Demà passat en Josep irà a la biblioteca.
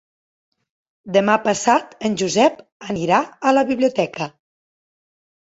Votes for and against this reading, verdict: 1, 2, rejected